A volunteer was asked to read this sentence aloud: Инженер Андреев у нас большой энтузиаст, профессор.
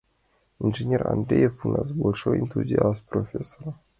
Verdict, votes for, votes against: accepted, 2, 0